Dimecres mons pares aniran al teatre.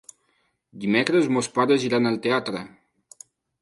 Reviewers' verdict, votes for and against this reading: rejected, 1, 2